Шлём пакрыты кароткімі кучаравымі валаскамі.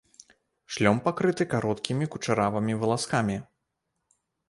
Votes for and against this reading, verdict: 2, 1, accepted